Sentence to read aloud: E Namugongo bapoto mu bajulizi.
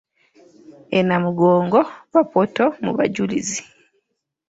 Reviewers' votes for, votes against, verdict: 1, 2, rejected